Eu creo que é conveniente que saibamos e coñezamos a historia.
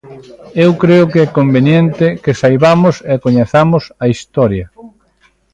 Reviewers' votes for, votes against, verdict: 0, 2, rejected